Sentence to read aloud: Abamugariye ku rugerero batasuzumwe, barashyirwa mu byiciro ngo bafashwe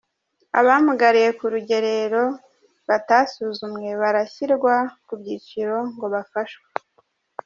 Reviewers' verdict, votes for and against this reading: rejected, 0, 2